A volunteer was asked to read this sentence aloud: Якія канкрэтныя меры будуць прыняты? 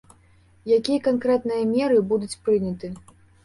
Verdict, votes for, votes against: accepted, 2, 0